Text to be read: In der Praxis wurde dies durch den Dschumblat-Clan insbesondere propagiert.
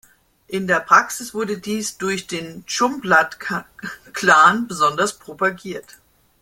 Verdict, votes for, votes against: rejected, 0, 2